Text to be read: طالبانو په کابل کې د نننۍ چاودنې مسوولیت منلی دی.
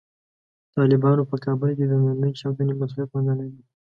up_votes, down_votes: 2, 0